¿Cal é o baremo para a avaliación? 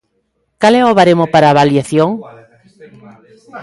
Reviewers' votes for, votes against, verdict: 0, 2, rejected